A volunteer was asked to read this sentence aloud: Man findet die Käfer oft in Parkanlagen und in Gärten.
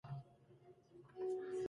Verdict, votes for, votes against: rejected, 0, 2